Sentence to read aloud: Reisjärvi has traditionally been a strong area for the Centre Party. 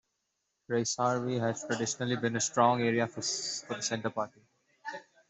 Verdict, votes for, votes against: rejected, 0, 2